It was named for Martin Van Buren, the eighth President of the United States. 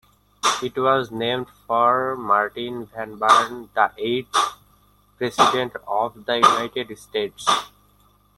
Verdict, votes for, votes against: rejected, 0, 2